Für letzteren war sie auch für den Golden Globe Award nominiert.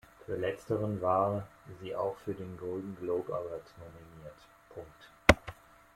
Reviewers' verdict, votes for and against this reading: rejected, 1, 2